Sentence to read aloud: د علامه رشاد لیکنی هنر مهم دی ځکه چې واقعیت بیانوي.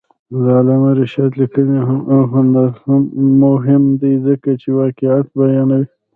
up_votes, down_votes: 0, 2